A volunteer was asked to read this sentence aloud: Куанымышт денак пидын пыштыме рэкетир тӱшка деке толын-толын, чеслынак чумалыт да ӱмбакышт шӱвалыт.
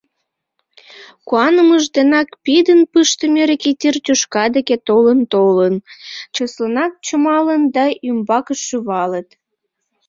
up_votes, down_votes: 1, 2